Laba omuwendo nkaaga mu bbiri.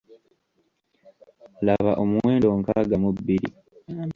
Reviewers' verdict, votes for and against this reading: rejected, 1, 2